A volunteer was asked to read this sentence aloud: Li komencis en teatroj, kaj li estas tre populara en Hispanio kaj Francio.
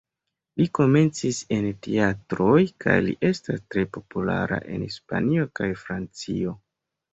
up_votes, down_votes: 2, 0